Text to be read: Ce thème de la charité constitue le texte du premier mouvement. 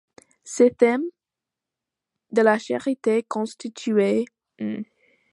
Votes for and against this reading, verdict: 0, 2, rejected